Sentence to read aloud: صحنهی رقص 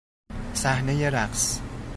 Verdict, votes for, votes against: accepted, 2, 0